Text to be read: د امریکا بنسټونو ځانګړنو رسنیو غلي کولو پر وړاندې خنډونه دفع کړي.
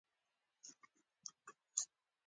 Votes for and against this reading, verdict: 2, 1, accepted